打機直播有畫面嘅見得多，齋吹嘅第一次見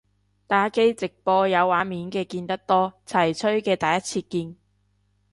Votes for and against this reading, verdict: 0, 3, rejected